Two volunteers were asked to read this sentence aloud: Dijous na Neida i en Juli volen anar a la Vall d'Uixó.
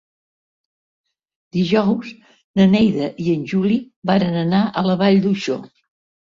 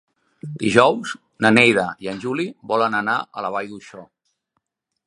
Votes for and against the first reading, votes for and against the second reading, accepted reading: 0, 3, 3, 0, second